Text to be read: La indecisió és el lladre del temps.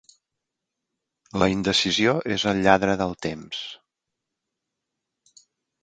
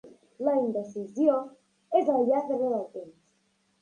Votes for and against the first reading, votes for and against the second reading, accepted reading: 3, 0, 1, 2, first